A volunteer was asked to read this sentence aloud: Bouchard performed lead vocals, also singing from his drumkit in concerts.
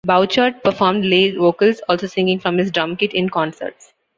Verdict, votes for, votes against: rejected, 1, 2